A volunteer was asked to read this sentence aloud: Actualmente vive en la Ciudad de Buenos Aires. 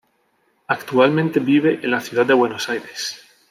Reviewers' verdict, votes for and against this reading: accepted, 2, 0